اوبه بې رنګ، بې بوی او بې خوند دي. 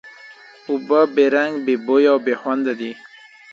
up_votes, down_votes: 1, 2